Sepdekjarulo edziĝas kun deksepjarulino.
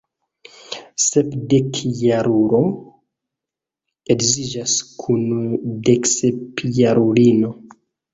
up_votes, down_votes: 1, 2